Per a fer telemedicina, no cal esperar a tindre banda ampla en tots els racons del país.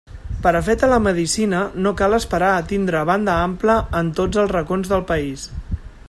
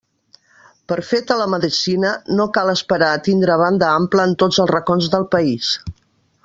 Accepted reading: first